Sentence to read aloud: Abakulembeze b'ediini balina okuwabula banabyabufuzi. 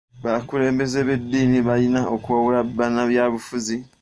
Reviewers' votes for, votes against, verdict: 2, 0, accepted